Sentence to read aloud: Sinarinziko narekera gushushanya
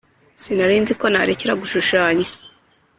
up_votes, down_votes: 2, 0